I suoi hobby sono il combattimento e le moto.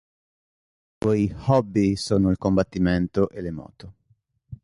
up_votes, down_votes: 1, 2